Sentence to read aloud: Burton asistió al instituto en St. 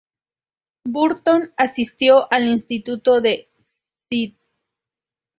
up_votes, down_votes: 2, 0